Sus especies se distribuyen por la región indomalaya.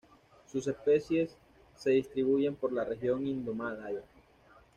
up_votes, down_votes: 1, 2